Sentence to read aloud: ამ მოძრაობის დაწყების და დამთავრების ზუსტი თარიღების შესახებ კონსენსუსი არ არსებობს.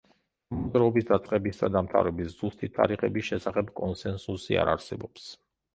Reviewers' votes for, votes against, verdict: 0, 2, rejected